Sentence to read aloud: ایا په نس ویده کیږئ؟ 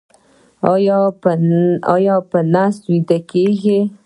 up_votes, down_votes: 0, 2